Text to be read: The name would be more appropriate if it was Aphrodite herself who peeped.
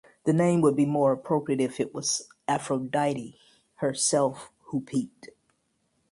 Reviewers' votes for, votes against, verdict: 2, 4, rejected